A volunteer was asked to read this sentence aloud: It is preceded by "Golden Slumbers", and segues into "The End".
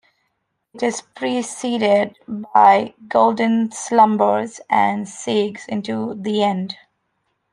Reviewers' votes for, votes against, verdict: 3, 0, accepted